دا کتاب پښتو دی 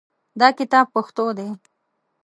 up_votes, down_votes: 2, 0